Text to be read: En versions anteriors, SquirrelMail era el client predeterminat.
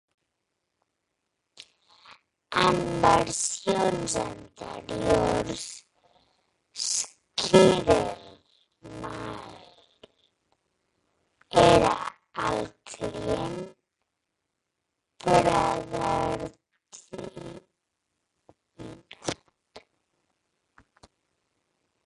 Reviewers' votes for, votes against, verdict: 0, 2, rejected